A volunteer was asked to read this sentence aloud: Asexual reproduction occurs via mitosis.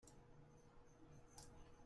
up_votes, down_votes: 0, 2